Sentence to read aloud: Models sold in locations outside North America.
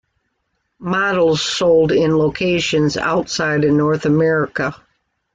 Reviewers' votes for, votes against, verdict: 2, 0, accepted